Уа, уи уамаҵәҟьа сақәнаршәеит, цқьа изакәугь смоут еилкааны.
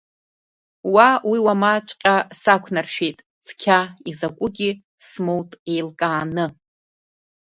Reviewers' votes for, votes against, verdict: 2, 0, accepted